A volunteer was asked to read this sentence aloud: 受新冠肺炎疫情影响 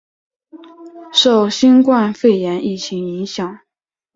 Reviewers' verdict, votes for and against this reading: accepted, 2, 0